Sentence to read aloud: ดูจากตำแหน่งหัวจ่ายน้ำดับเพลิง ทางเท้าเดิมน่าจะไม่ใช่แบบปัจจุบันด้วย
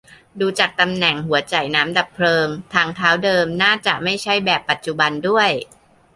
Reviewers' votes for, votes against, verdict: 2, 0, accepted